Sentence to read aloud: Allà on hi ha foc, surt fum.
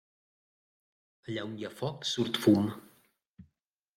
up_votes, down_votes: 0, 2